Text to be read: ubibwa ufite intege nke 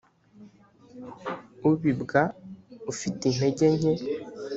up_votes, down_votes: 2, 0